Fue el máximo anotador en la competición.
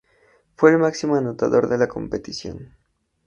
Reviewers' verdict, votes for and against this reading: rejected, 0, 2